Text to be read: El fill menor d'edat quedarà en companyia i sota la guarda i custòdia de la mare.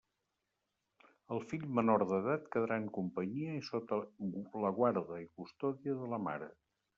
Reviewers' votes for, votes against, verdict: 1, 2, rejected